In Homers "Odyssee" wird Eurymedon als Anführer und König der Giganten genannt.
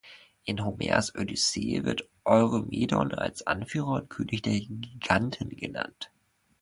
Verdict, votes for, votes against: rejected, 0, 2